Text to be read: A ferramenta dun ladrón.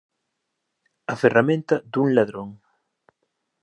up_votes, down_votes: 2, 0